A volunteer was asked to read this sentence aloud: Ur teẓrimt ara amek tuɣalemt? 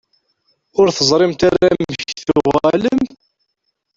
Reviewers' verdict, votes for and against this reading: rejected, 0, 2